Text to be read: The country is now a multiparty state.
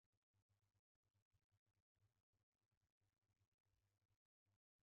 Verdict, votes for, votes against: rejected, 1, 2